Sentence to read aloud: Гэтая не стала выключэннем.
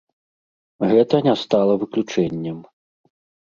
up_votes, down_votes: 0, 2